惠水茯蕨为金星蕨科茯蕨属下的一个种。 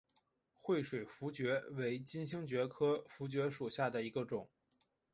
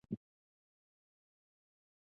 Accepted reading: first